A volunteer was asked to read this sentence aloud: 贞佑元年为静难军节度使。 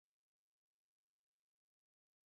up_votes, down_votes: 1, 3